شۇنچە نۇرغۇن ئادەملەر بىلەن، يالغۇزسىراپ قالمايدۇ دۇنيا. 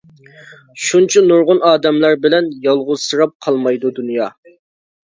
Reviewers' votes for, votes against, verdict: 2, 0, accepted